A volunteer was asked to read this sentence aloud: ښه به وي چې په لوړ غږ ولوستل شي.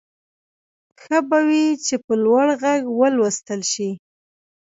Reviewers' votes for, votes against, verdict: 0, 2, rejected